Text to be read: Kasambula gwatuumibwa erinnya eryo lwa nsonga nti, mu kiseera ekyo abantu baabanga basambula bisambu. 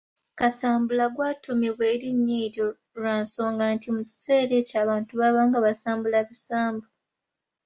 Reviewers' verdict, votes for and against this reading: accepted, 2, 0